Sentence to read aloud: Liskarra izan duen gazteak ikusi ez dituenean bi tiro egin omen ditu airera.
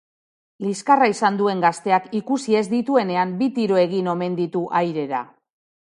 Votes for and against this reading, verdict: 3, 0, accepted